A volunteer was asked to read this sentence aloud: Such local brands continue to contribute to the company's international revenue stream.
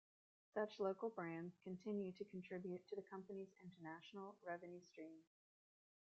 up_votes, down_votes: 1, 2